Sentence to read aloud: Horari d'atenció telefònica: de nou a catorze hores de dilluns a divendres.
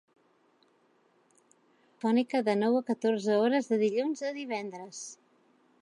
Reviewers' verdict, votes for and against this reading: rejected, 1, 2